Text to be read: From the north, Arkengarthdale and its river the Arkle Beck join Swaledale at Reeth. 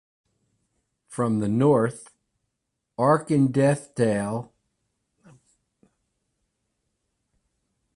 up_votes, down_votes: 0, 2